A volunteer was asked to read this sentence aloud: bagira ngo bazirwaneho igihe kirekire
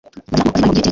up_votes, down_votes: 1, 2